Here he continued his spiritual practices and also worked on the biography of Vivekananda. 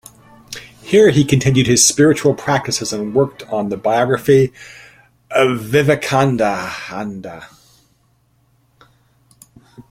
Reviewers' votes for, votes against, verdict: 2, 3, rejected